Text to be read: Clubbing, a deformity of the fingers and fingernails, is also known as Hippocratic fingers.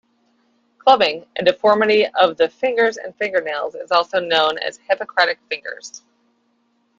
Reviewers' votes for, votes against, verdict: 2, 0, accepted